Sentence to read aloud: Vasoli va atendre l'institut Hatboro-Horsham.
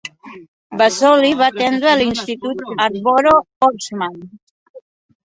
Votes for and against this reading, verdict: 0, 2, rejected